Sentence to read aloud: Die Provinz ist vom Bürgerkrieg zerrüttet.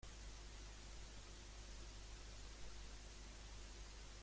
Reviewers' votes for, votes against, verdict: 0, 2, rejected